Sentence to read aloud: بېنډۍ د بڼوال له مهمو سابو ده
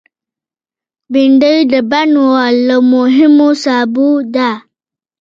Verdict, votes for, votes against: rejected, 1, 2